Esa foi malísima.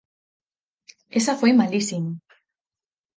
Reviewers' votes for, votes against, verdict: 4, 0, accepted